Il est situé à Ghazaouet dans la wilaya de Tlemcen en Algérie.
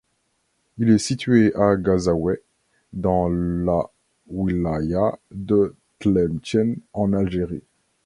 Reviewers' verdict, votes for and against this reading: accepted, 2, 0